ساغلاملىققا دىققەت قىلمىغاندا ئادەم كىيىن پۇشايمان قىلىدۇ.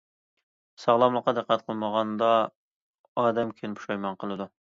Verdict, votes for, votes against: accepted, 2, 0